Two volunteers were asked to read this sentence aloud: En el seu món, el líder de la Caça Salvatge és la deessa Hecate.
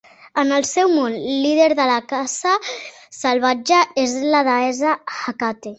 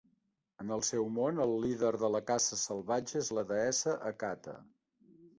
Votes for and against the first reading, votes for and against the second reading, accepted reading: 3, 4, 2, 0, second